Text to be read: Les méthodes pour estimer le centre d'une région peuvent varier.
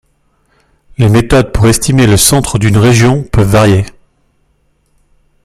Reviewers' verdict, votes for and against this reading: accepted, 2, 1